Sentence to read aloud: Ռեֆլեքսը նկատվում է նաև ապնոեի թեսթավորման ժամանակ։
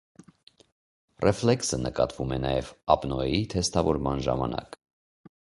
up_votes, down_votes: 2, 0